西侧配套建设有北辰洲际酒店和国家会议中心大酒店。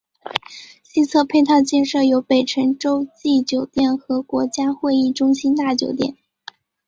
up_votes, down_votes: 2, 0